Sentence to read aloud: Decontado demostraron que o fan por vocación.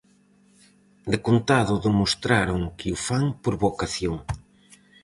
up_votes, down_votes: 2, 2